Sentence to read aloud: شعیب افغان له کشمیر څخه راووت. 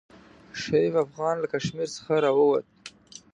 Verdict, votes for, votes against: accepted, 2, 0